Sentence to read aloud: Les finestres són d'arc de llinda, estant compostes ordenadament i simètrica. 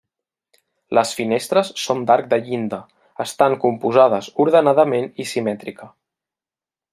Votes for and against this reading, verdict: 0, 2, rejected